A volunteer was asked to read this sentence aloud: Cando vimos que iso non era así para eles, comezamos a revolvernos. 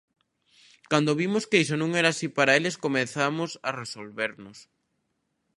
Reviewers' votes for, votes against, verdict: 0, 2, rejected